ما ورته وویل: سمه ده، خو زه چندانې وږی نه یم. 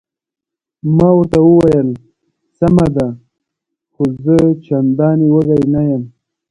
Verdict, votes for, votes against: rejected, 1, 2